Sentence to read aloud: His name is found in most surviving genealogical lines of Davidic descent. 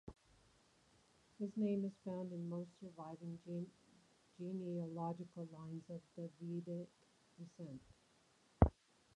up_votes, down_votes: 0, 2